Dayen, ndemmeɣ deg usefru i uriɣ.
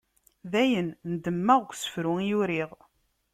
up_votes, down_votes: 2, 0